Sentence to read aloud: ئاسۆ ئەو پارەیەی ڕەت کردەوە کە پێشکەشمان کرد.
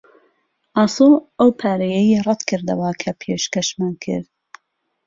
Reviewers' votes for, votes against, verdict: 2, 0, accepted